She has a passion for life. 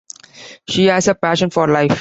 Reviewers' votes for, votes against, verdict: 2, 0, accepted